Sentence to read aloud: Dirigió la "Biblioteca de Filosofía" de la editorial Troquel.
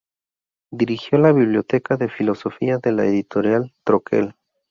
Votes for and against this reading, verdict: 2, 0, accepted